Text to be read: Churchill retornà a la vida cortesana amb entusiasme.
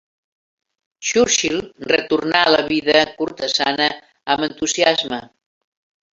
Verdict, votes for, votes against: accepted, 2, 0